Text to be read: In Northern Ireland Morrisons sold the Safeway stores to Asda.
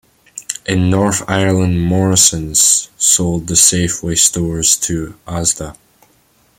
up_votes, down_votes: 2, 1